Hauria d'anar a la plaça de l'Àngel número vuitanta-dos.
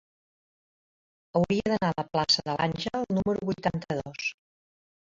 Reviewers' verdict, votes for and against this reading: accepted, 3, 0